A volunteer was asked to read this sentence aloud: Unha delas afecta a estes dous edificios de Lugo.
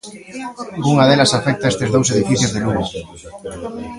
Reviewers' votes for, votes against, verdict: 2, 1, accepted